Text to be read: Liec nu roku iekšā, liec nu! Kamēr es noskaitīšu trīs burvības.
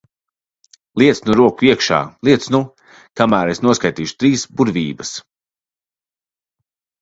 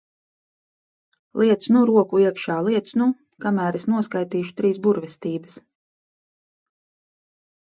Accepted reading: first